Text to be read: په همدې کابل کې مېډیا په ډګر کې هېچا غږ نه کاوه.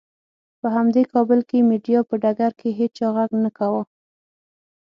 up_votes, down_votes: 0, 6